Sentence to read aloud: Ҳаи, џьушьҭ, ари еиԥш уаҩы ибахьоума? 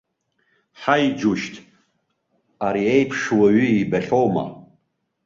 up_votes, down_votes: 2, 0